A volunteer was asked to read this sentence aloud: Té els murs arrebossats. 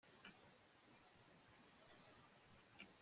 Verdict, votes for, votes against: rejected, 0, 2